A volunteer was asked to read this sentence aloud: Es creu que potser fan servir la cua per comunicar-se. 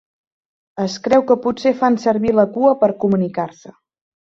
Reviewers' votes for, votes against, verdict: 5, 0, accepted